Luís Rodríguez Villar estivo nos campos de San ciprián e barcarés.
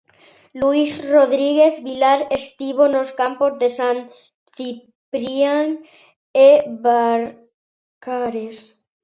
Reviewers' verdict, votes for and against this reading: rejected, 0, 2